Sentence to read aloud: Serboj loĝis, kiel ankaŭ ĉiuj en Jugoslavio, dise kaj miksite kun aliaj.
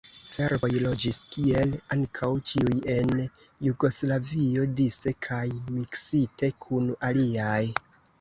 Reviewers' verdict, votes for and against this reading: rejected, 2, 3